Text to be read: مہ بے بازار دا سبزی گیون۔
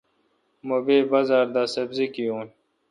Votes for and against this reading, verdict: 3, 0, accepted